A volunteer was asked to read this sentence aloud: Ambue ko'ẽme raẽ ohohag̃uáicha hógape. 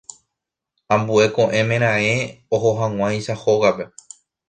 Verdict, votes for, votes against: accepted, 2, 1